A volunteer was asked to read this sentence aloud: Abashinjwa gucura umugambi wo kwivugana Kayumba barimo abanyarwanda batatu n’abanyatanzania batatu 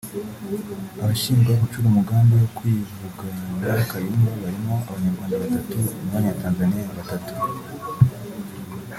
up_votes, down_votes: 1, 2